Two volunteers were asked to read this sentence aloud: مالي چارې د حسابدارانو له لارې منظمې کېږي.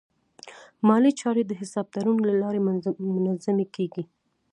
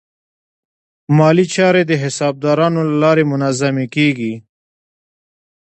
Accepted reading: second